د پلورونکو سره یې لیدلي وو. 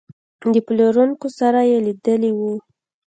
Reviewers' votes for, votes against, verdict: 2, 0, accepted